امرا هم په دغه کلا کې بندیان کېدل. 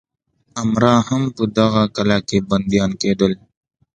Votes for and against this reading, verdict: 1, 2, rejected